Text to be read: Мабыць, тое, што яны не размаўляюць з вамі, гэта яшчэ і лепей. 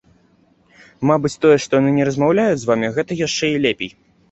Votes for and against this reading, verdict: 2, 0, accepted